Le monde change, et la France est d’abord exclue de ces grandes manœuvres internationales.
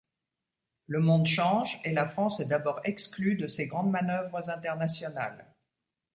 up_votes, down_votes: 2, 0